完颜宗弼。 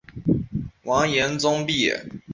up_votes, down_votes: 2, 0